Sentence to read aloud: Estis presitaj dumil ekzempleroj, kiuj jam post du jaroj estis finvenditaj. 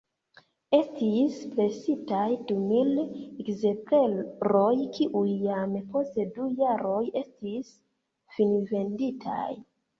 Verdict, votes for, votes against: rejected, 1, 2